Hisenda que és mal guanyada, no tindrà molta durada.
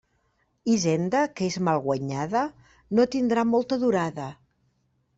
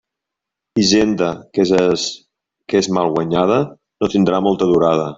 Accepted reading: first